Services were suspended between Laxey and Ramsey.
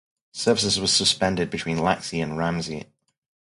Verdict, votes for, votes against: rejected, 0, 2